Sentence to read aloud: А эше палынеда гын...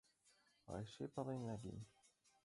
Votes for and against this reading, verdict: 1, 2, rejected